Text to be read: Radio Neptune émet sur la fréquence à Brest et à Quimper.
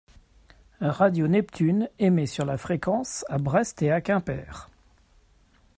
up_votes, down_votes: 1, 2